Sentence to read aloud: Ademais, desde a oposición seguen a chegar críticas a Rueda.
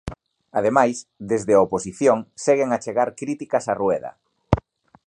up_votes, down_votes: 2, 0